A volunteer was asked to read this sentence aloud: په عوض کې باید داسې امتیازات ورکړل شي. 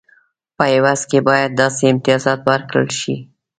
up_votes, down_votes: 2, 0